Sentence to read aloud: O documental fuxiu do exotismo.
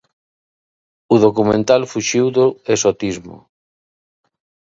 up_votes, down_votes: 2, 1